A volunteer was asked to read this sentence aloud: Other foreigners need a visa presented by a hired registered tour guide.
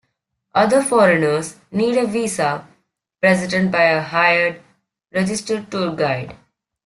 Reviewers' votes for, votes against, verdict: 2, 0, accepted